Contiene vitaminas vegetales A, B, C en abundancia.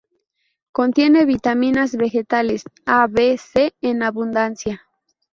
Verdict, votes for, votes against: accepted, 2, 0